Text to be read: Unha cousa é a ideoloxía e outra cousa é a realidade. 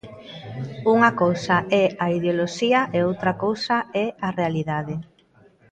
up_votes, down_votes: 2, 0